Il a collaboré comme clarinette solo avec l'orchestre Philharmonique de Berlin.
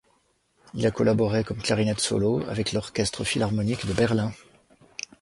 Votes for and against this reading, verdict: 2, 0, accepted